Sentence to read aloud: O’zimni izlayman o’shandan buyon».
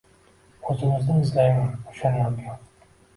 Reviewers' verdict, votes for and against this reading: accepted, 2, 1